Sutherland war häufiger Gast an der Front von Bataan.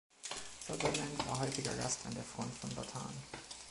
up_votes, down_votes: 1, 2